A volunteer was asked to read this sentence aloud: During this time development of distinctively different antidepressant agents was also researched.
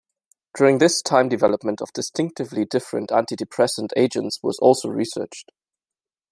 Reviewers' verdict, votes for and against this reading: accepted, 2, 1